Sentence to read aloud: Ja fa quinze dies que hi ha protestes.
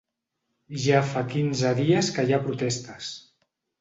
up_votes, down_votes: 3, 0